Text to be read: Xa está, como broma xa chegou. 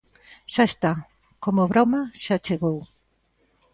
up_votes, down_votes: 2, 0